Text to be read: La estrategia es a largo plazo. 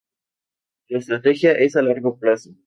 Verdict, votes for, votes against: accepted, 2, 0